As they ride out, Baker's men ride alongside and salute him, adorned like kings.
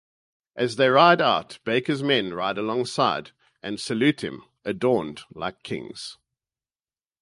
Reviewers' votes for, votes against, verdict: 4, 0, accepted